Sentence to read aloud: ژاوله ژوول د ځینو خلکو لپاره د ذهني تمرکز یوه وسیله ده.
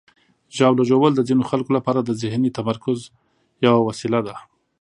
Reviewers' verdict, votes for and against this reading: accepted, 2, 0